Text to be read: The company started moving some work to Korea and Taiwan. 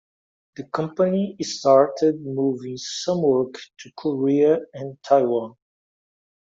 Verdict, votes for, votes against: accepted, 2, 0